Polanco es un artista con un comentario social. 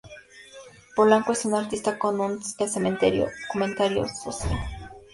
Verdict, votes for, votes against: rejected, 0, 2